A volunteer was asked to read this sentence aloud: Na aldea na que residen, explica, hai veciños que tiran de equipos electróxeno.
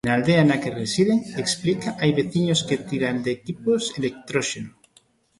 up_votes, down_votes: 1, 2